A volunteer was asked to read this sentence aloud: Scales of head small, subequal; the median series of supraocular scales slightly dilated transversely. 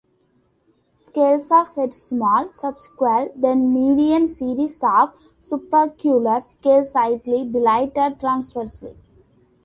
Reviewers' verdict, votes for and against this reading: rejected, 0, 2